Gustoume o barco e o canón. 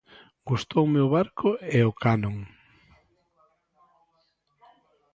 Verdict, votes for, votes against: rejected, 0, 2